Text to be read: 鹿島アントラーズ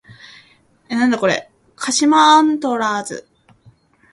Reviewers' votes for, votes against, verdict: 1, 2, rejected